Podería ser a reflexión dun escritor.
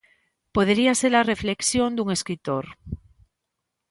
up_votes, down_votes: 2, 0